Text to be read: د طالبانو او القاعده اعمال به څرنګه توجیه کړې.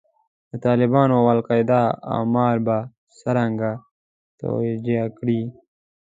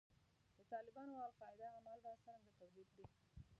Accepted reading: first